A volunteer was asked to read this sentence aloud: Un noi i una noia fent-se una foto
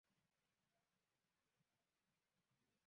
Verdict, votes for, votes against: rejected, 0, 2